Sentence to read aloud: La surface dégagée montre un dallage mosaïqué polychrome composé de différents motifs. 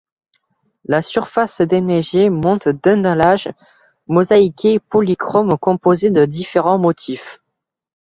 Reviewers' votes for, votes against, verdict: 0, 2, rejected